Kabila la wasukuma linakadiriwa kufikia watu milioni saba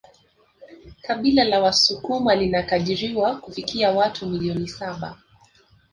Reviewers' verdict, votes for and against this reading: accepted, 2, 1